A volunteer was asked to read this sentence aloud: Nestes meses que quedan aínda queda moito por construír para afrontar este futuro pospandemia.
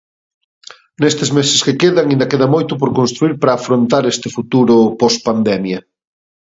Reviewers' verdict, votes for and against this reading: rejected, 0, 2